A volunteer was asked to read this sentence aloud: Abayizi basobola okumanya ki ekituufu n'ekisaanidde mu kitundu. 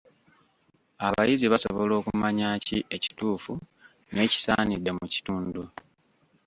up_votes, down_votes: 2, 0